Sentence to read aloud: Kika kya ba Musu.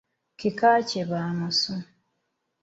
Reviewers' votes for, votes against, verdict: 0, 2, rejected